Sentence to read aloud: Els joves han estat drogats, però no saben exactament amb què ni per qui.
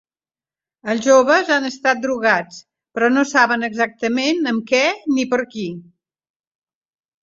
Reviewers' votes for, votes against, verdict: 4, 0, accepted